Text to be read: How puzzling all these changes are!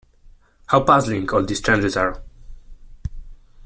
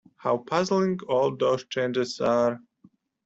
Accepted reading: first